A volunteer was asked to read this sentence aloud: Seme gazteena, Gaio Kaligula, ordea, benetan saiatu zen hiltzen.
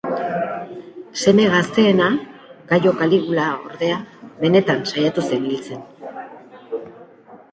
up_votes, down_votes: 4, 1